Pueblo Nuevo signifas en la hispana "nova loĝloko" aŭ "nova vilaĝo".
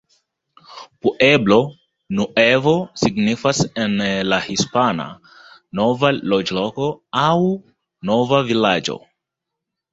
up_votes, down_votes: 2, 1